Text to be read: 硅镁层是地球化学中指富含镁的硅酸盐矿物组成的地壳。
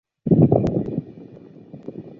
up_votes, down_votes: 0, 2